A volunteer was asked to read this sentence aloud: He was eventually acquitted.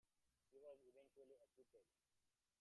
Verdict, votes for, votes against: rejected, 1, 2